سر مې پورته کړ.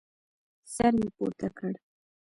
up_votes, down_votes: 2, 1